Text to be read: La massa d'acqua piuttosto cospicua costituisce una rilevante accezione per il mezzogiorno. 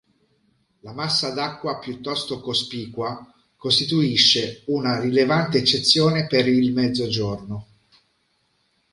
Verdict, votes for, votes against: rejected, 0, 2